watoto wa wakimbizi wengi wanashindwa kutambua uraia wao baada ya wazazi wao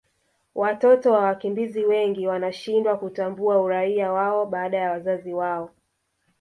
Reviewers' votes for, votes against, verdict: 1, 2, rejected